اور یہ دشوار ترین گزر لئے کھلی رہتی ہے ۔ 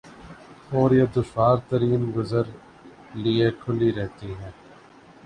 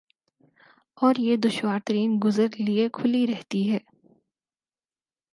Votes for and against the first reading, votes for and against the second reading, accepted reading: 0, 2, 4, 0, second